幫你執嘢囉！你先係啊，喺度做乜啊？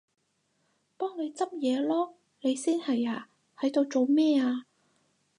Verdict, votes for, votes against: rejected, 2, 4